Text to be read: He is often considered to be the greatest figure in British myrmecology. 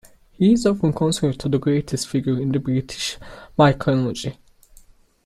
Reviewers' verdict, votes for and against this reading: rejected, 1, 2